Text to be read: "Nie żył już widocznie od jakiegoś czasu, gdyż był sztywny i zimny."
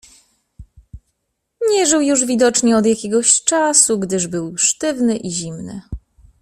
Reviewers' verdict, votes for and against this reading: accepted, 2, 0